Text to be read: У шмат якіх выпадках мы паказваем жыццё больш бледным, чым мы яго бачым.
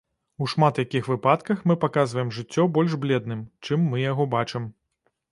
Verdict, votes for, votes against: rejected, 1, 2